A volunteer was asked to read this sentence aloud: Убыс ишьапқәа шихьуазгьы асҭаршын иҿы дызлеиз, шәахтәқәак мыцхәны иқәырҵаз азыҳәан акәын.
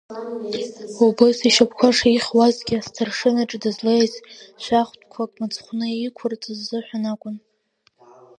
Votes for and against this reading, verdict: 2, 0, accepted